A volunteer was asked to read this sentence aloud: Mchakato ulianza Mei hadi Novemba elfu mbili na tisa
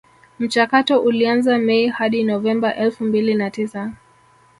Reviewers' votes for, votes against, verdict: 1, 2, rejected